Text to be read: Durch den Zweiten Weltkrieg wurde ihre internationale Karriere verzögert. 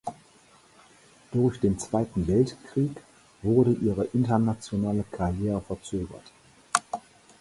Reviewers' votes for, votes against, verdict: 4, 0, accepted